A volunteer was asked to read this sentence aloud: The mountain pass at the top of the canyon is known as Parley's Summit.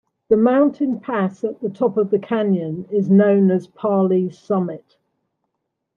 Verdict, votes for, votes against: accepted, 2, 0